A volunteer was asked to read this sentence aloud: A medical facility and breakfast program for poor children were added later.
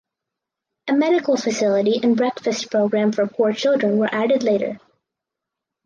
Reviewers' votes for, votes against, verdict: 4, 0, accepted